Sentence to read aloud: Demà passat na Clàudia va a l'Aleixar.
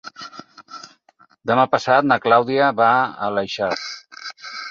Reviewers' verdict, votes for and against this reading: accepted, 4, 0